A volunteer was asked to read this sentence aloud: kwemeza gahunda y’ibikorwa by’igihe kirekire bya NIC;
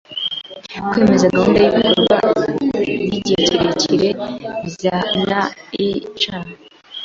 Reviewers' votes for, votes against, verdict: 2, 0, accepted